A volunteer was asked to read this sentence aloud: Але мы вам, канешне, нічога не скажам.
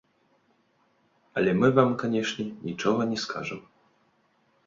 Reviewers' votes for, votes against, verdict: 2, 0, accepted